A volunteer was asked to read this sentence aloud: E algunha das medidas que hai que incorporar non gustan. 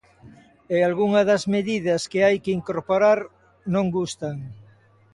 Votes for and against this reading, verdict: 2, 0, accepted